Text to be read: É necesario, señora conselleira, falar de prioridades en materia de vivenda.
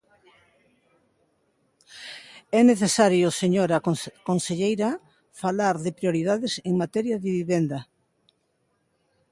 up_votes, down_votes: 0, 2